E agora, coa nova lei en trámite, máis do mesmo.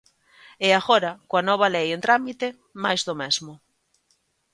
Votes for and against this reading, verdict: 2, 0, accepted